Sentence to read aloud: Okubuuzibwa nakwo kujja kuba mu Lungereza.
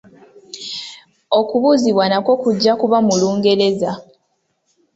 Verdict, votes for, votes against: accepted, 2, 0